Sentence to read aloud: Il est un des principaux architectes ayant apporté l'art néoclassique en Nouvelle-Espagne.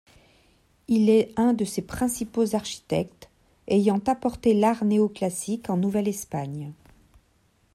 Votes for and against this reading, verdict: 1, 2, rejected